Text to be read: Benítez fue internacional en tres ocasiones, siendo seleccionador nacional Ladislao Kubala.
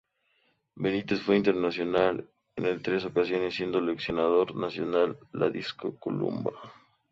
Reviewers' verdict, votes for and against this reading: rejected, 0, 2